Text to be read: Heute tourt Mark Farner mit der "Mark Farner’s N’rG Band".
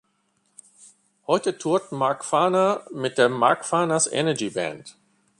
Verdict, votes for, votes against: rejected, 1, 2